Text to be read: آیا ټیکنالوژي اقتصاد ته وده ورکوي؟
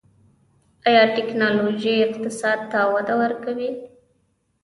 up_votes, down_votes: 3, 0